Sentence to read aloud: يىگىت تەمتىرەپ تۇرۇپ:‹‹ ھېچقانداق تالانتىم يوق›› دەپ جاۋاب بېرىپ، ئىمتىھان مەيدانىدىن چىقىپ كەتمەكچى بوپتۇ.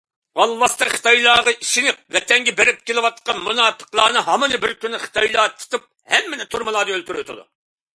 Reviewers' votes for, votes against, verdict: 0, 2, rejected